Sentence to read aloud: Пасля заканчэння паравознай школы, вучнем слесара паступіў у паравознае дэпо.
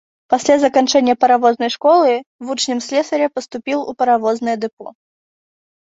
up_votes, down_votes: 1, 2